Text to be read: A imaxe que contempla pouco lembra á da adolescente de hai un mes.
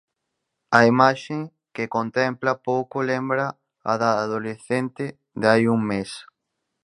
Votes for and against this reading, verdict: 2, 4, rejected